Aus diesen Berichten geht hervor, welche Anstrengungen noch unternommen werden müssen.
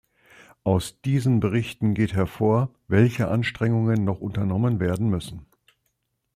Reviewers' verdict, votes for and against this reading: accepted, 2, 0